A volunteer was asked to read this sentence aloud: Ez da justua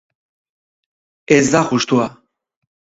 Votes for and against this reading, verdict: 2, 2, rejected